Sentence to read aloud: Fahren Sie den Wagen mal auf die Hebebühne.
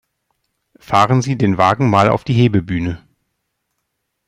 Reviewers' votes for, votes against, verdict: 2, 0, accepted